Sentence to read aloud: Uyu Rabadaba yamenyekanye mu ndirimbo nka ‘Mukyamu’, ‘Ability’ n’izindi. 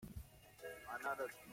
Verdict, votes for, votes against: rejected, 0, 2